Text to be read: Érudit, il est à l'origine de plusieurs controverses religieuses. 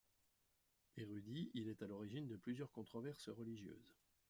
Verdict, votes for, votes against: rejected, 1, 2